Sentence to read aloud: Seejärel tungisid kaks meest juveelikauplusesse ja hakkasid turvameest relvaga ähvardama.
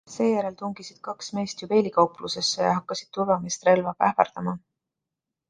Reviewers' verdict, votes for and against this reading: accepted, 2, 1